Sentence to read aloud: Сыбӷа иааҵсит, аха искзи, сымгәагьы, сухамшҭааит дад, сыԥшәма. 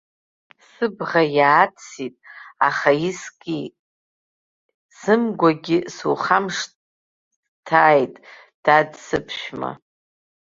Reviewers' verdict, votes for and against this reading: rejected, 1, 2